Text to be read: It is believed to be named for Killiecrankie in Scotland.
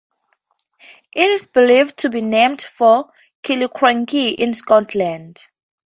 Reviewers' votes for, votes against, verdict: 4, 0, accepted